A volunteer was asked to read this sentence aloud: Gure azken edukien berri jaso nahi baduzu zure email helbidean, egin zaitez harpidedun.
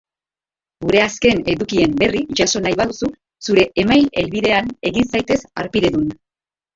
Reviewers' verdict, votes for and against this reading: accepted, 2, 0